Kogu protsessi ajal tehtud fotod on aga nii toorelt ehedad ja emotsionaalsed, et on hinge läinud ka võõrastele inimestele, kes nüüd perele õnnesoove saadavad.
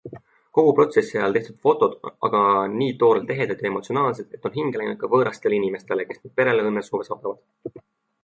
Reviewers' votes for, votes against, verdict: 2, 1, accepted